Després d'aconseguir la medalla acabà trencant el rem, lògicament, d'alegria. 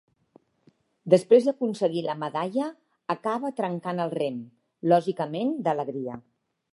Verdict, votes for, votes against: rejected, 1, 2